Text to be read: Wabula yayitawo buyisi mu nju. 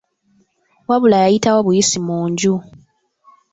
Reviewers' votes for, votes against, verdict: 1, 2, rejected